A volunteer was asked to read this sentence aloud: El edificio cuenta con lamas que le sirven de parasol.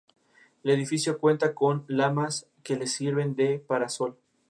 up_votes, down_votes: 2, 0